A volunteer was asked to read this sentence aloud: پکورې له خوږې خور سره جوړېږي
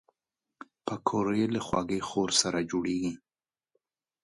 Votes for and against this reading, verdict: 2, 0, accepted